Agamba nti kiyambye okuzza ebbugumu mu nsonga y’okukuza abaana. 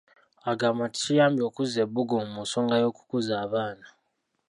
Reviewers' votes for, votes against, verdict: 0, 2, rejected